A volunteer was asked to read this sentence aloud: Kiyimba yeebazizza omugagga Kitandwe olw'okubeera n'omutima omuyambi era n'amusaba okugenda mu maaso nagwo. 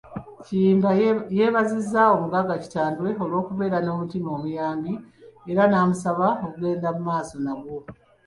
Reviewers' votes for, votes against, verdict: 2, 1, accepted